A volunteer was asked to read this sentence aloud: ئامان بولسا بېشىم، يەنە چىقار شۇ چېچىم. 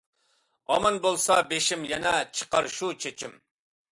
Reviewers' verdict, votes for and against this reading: accepted, 2, 0